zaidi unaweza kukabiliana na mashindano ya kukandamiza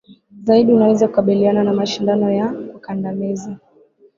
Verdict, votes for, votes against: rejected, 1, 2